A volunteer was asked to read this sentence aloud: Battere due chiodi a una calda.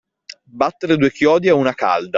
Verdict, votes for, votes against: accepted, 2, 0